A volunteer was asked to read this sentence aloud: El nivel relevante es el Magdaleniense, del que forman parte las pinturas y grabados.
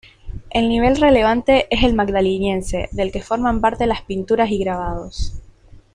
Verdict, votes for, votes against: rejected, 1, 2